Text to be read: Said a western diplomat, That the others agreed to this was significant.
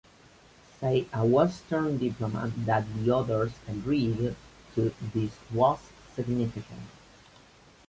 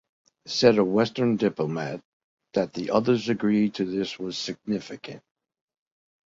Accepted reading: second